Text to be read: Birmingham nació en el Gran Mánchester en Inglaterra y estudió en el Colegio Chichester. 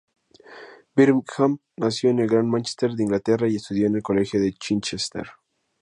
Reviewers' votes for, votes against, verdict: 2, 2, rejected